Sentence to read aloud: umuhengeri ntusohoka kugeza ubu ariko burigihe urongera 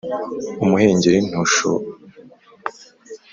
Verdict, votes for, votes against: rejected, 2, 5